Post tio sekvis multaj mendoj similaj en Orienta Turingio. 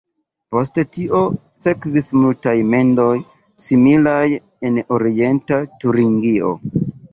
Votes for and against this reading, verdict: 2, 1, accepted